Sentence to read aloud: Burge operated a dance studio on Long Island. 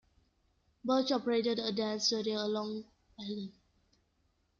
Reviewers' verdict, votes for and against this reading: accepted, 2, 0